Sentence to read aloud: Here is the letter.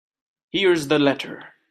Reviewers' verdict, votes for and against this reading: accepted, 2, 0